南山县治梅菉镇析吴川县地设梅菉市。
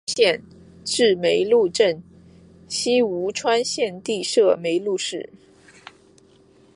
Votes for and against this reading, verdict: 2, 4, rejected